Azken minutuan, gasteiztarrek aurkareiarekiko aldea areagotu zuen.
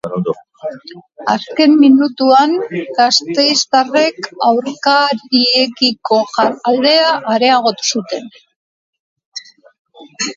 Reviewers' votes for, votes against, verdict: 0, 2, rejected